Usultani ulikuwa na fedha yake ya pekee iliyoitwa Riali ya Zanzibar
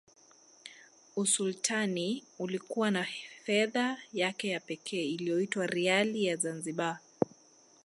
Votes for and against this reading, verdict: 2, 0, accepted